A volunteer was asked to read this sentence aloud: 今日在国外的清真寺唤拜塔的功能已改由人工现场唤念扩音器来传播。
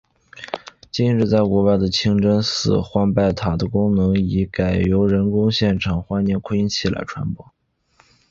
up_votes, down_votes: 2, 0